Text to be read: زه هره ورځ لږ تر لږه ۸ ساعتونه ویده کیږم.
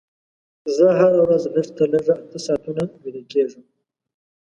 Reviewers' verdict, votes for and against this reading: rejected, 0, 2